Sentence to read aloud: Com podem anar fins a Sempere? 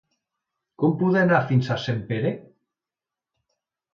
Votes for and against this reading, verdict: 1, 2, rejected